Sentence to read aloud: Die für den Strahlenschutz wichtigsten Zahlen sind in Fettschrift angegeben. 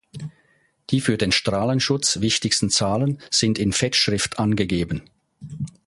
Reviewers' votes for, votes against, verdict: 2, 0, accepted